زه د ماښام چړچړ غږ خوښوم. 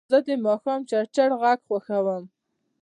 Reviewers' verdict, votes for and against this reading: accepted, 2, 0